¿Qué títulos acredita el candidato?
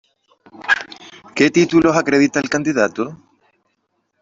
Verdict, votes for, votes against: accepted, 2, 0